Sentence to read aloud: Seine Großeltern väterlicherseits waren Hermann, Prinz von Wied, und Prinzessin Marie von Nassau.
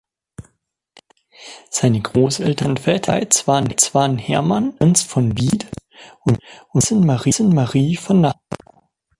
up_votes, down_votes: 0, 2